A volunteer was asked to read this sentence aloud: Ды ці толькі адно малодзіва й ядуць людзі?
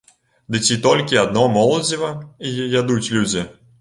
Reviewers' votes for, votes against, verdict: 1, 2, rejected